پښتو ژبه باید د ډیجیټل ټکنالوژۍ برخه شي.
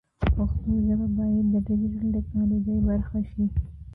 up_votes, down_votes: 1, 2